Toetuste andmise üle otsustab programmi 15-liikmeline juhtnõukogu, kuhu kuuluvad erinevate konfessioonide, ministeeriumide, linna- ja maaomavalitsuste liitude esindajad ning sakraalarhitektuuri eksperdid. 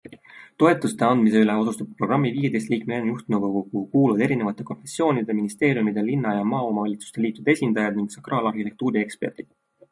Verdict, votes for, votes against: rejected, 0, 2